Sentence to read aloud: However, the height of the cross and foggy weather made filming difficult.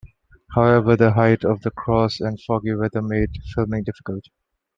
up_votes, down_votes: 2, 0